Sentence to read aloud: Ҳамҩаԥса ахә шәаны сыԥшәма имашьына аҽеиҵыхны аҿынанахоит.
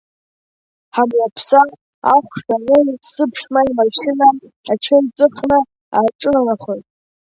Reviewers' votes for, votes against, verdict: 1, 3, rejected